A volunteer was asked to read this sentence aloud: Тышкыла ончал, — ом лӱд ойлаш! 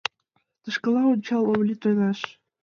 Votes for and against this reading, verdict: 2, 0, accepted